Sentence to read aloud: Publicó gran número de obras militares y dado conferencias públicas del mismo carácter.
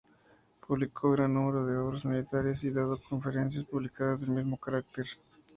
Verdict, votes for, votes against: rejected, 0, 2